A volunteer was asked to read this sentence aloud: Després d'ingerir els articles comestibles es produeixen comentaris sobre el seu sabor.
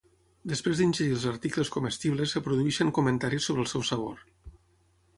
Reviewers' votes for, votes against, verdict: 0, 6, rejected